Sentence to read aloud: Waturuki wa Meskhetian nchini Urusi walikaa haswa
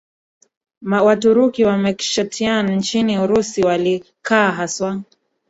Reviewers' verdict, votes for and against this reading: rejected, 0, 2